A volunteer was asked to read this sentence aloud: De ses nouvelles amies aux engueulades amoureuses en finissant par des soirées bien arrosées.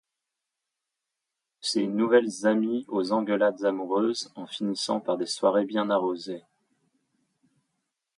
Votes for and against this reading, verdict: 1, 2, rejected